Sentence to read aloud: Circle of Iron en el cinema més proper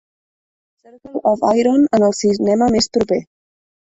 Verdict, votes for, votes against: rejected, 0, 2